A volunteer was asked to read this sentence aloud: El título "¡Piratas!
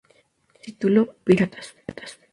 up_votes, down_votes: 0, 2